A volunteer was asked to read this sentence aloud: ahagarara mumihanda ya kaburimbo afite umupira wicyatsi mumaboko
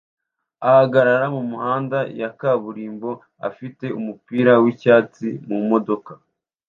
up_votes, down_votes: 1, 2